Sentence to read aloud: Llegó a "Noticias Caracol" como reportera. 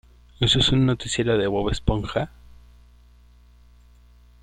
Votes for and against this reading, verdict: 0, 2, rejected